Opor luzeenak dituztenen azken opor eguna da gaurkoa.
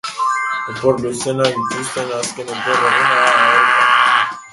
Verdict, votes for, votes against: rejected, 0, 2